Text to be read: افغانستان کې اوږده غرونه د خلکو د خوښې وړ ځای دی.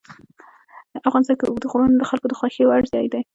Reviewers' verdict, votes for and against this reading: accepted, 2, 0